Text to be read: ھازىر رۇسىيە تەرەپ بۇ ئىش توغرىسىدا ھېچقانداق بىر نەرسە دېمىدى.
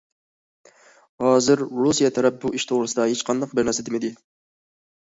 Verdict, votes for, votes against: accepted, 2, 0